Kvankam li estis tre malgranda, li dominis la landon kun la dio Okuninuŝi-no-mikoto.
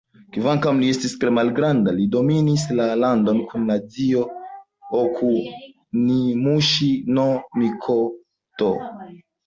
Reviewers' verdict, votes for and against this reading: rejected, 0, 2